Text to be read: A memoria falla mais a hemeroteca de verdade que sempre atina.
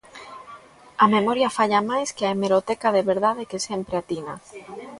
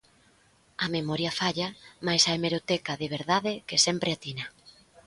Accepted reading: second